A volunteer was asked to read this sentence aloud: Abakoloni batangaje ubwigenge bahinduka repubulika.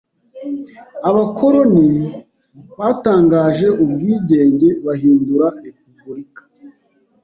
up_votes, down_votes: 0, 2